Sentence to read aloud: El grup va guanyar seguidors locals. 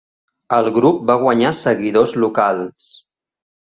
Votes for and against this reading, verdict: 5, 0, accepted